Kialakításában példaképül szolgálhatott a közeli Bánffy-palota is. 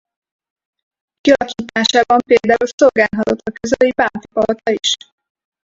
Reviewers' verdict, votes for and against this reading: rejected, 0, 4